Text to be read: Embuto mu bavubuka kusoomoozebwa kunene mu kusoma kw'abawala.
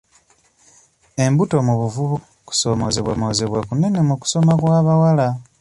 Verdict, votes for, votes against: rejected, 1, 2